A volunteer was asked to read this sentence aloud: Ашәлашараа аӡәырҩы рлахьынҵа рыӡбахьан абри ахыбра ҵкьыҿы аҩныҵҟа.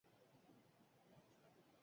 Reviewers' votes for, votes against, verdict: 0, 2, rejected